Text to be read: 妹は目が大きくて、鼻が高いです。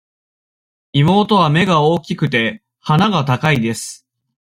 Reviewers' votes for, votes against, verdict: 2, 0, accepted